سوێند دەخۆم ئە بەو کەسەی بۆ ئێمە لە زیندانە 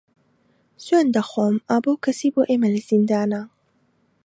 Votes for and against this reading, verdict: 2, 1, accepted